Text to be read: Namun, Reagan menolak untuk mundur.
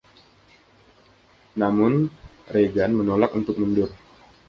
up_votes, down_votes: 2, 1